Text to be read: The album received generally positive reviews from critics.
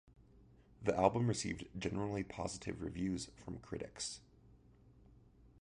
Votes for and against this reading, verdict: 2, 1, accepted